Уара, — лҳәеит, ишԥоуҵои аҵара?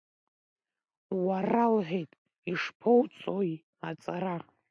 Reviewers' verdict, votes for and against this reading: rejected, 0, 2